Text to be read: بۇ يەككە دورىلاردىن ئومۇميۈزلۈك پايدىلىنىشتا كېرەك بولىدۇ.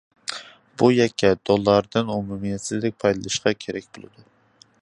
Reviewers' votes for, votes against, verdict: 1, 2, rejected